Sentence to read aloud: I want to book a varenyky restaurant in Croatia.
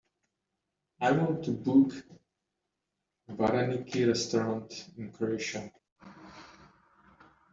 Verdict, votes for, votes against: rejected, 1, 2